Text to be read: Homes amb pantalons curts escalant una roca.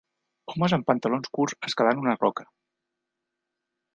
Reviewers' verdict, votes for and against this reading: accepted, 2, 0